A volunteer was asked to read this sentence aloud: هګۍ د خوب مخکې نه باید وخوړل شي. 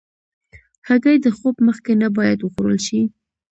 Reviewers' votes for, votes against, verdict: 2, 0, accepted